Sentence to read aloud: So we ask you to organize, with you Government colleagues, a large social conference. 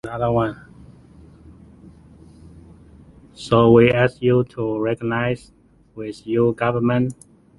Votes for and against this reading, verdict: 0, 2, rejected